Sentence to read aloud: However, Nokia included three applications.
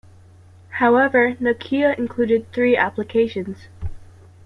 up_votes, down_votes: 2, 0